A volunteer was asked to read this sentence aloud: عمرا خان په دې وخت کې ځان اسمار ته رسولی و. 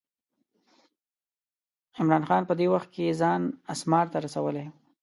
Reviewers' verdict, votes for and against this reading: accepted, 2, 0